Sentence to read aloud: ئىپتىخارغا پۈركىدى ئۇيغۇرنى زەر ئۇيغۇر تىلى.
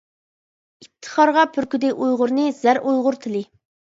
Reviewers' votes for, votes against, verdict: 2, 0, accepted